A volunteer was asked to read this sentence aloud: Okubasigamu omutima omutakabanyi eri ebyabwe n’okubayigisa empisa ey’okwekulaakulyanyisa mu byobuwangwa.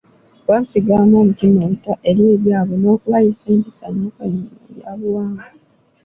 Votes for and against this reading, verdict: 0, 2, rejected